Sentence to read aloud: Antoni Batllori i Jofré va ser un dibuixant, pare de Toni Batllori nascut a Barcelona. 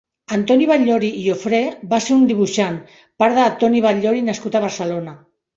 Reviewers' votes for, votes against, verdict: 1, 2, rejected